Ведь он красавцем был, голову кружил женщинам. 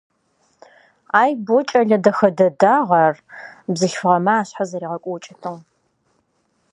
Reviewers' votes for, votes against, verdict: 0, 2, rejected